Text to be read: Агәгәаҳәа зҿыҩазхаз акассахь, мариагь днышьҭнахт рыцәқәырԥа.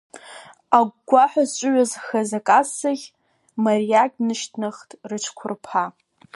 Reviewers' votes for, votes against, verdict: 2, 0, accepted